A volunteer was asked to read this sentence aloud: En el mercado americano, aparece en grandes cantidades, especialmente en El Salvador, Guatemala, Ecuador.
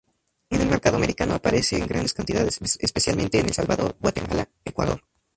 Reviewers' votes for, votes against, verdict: 0, 2, rejected